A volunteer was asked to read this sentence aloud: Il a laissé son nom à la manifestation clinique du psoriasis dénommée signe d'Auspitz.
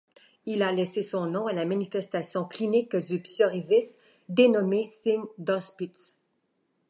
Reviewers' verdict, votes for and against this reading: rejected, 1, 2